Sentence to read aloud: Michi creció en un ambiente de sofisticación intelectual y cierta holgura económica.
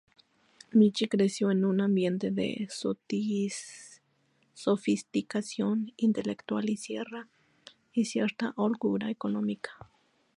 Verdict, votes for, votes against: rejected, 0, 2